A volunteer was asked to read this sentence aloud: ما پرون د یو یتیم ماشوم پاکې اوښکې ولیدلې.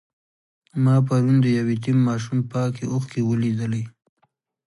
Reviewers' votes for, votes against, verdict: 2, 0, accepted